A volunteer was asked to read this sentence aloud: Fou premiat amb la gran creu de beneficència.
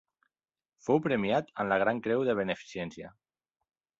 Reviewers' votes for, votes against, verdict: 2, 0, accepted